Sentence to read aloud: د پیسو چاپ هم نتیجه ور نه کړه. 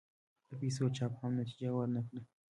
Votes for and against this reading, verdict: 2, 0, accepted